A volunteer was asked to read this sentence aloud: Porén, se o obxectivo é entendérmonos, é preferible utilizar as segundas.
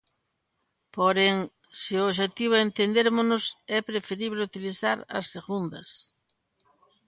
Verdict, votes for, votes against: accepted, 2, 0